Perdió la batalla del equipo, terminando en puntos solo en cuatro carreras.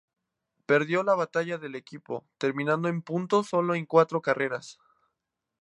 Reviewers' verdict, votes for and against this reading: accepted, 2, 0